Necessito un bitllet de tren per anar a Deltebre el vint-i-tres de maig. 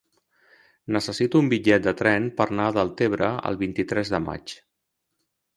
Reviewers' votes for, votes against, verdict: 0, 2, rejected